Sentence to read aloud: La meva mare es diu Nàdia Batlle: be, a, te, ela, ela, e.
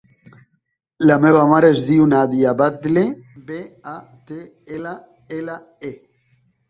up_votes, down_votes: 1, 2